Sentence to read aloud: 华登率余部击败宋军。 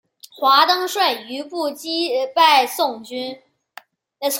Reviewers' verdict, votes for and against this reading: rejected, 1, 2